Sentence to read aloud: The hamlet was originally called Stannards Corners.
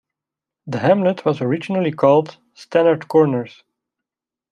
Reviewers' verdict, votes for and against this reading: accepted, 2, 0